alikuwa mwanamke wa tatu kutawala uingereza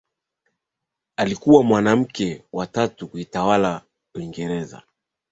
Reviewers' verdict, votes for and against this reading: accepted, 2, 0